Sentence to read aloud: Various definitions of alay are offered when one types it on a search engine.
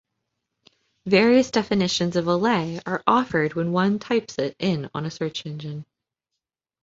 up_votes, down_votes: 1, 2